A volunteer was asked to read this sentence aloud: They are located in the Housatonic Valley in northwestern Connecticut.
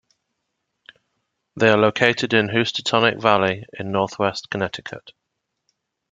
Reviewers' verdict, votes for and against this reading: accepted, 2, 0